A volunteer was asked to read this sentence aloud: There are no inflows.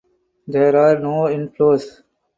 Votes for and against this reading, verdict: 2, 0, accepted